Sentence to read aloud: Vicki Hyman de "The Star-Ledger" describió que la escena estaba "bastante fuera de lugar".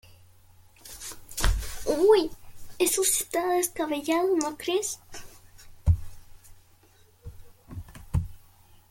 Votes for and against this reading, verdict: 0, 2, rejected